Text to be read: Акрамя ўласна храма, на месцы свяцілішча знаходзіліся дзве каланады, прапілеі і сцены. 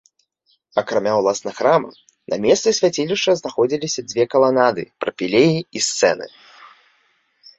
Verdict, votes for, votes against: rejected, 0, 2